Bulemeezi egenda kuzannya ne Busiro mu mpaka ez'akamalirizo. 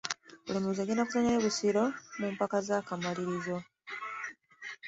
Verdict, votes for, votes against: rejected, 1, 2